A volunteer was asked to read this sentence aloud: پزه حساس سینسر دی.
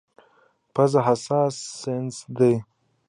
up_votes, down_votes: 2, 0